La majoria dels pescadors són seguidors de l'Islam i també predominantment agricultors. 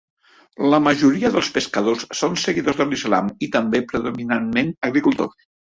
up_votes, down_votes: 4, 0